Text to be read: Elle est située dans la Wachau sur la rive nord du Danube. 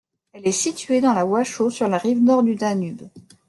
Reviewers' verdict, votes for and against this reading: accepted, 2, 1